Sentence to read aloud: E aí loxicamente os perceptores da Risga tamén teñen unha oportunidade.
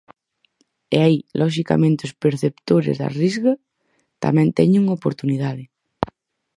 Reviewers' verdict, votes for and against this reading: rejected, 0, 4